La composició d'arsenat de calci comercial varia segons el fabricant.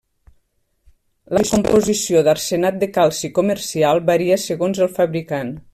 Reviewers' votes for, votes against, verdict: 1, 2, rejected